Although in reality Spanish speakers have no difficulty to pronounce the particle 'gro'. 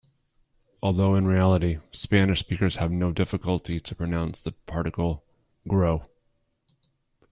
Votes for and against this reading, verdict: 2, 0, accepted